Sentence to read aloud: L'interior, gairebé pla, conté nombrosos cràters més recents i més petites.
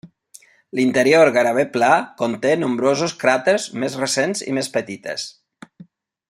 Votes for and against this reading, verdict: 1, 2, rejected